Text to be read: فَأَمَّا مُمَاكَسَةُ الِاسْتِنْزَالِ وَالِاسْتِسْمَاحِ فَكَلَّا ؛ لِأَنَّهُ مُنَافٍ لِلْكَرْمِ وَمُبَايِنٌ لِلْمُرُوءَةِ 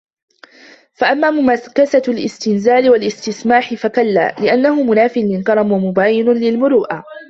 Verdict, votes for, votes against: rejected, 0, 2